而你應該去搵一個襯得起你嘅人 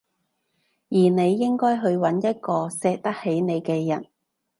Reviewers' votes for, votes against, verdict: 0, 2, rejected